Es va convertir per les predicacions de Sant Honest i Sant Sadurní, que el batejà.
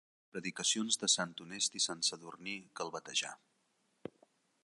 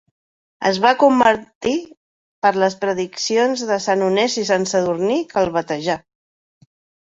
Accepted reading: second